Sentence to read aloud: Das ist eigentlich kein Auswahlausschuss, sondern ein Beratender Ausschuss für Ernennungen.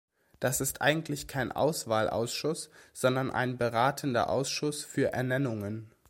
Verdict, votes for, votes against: accepted, 2, 0